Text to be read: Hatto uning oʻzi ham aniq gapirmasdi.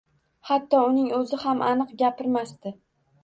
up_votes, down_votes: 2, 0